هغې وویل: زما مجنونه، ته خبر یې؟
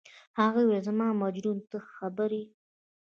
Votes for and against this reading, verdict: 2, 0, accepted